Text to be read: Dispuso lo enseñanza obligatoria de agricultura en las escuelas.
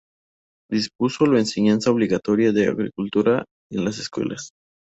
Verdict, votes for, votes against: rejected, 0, 2